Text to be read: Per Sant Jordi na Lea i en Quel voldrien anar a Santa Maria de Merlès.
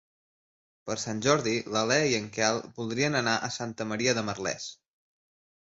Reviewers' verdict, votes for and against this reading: accepted, 4, 1